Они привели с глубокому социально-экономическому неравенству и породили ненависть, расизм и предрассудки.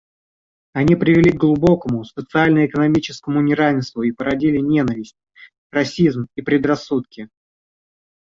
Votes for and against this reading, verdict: 0, 2, rejected